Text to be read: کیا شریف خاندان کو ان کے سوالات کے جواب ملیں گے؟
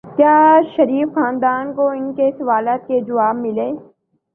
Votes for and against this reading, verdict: 2, 2, rejected